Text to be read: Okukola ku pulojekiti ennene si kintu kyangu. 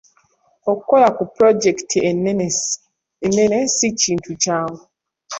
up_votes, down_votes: 1, 2